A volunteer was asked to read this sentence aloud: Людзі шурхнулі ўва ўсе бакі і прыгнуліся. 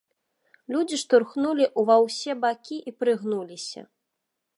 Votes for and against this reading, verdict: 0, 2, rejected